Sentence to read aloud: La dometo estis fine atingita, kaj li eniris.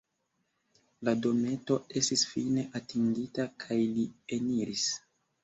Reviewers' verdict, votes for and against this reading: accepted, 2, 0